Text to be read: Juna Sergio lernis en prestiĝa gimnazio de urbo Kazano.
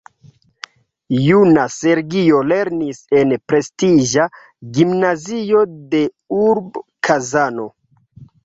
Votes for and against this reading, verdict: 0, 2, rejected